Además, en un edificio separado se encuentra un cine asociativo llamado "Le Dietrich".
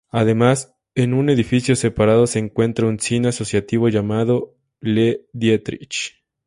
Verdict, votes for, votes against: accepted, 2, 0